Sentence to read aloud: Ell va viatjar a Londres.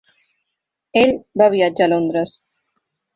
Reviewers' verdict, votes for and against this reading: accepted, 4, 1